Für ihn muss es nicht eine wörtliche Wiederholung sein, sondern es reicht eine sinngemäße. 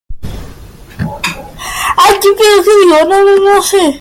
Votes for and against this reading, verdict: 0, 2, rejected